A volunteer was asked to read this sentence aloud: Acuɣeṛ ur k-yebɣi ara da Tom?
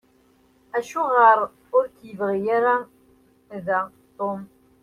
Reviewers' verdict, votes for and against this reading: rejected, 1, 2